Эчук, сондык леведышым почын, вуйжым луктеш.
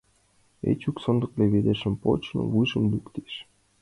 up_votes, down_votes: 2, 0